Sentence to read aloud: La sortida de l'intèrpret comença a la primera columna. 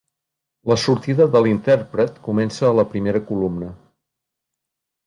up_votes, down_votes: 3, 0